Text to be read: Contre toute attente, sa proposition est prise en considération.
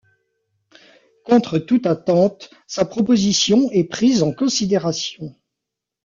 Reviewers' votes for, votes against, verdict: 2, 1, accepted